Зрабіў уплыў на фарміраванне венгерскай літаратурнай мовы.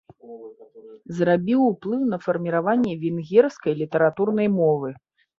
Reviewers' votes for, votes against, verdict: 1, 2, rejected